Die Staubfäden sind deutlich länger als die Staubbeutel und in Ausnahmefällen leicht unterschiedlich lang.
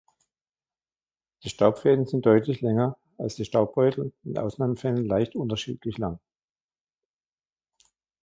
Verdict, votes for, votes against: accepted, 2, 0